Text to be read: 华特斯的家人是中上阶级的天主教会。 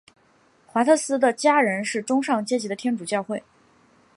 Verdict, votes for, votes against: accepted, 4, 0